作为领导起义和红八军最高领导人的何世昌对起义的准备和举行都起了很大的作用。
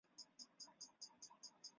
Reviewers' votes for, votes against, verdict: 0, 2, rejected